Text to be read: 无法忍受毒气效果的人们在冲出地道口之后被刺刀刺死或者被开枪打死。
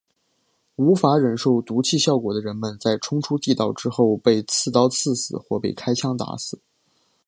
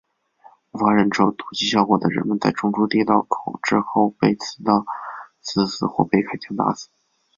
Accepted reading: first